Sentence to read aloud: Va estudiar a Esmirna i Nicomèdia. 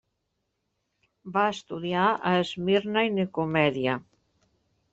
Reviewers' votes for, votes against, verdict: 2, 0, accepted